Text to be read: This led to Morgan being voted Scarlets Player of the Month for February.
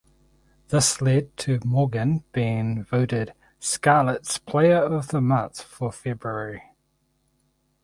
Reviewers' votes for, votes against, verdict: 2, 4, rejected